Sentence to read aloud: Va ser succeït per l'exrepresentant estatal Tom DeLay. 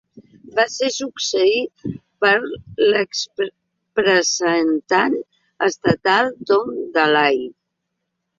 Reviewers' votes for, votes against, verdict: 0, 2, rejected